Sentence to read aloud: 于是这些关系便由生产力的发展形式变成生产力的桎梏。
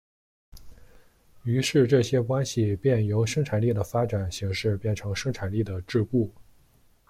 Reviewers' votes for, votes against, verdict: 1, 2, rejected